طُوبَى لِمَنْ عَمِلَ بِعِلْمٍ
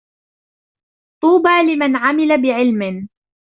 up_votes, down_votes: 2, 0